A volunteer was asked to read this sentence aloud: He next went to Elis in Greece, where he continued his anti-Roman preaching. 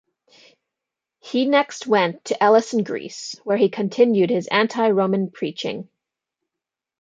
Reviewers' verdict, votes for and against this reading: accepted, 2, 0